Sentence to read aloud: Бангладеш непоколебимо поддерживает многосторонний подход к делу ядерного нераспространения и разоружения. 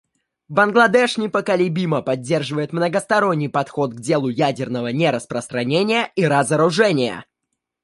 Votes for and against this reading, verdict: 2, 0, accepted